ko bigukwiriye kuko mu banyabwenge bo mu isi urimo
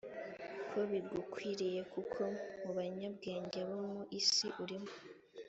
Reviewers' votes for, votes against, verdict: 4, 0, accepted